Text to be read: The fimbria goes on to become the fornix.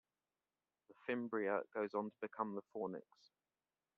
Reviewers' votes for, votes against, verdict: 1, 2, rejected